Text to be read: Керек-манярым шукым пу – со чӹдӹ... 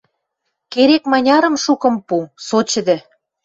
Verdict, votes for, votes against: accepted, 2, 0